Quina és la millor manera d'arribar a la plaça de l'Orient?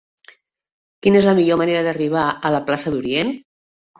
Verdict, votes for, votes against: rejected, 0, 2